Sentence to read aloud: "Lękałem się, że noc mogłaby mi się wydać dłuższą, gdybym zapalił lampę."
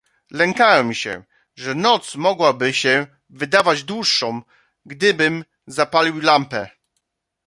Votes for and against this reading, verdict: 1, 2, rejected